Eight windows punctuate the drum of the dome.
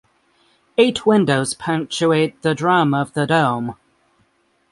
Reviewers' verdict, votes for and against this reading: rejected, 3, 3